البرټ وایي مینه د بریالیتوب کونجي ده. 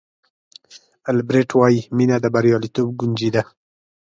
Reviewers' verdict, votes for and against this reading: rejected, 1, 2